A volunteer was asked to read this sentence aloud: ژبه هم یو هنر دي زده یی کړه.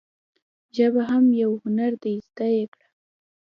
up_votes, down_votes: 2, 0